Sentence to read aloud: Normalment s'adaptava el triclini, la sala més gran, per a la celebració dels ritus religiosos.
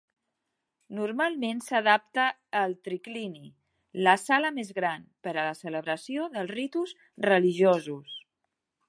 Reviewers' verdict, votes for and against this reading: rejected, 1, 2